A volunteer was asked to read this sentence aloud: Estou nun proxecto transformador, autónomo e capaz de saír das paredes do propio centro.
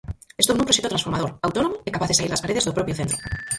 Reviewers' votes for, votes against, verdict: 0, 4, rejected